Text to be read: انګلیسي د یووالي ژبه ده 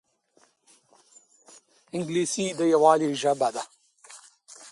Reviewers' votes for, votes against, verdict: 1, 2, rejected